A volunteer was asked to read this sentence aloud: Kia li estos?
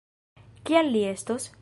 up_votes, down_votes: 1, 2